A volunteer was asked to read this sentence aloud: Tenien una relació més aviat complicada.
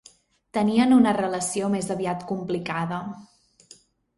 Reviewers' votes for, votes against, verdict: 3, 0, accepted